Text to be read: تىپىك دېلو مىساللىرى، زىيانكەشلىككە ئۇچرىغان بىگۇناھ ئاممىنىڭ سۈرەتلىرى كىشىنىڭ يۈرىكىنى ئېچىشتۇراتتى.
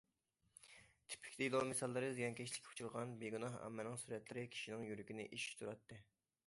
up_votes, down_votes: 2, 0